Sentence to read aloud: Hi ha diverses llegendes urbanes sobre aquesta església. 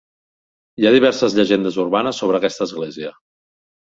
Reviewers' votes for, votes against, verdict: 3, 0, accepted